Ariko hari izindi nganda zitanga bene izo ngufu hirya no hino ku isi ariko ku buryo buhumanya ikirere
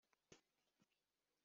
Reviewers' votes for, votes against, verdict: 0, 2, rejected